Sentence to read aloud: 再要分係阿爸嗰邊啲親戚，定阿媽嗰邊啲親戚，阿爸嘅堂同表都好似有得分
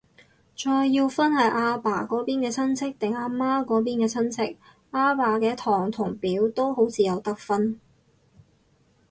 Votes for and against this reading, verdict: 2, 4, rejected